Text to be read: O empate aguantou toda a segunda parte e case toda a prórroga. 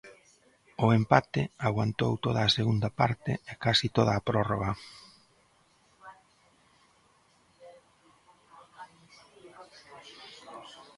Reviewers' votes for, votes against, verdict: 0, 2, rejected